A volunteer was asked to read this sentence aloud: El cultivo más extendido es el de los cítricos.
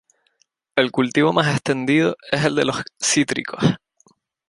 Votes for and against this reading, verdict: 2, 2, rejected